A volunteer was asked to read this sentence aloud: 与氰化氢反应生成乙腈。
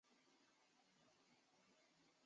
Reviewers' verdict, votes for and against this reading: rejected, 0, 4